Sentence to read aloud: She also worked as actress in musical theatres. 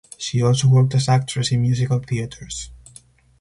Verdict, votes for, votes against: accepted, 4, 0